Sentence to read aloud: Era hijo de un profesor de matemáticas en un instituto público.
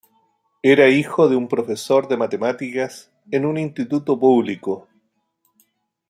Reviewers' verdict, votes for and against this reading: accepted, 2, 0